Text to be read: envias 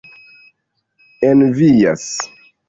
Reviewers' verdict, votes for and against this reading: accepted, 2, 1